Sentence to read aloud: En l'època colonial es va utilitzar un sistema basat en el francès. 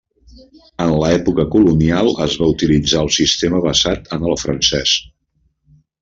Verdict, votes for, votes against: rejected, 0, 2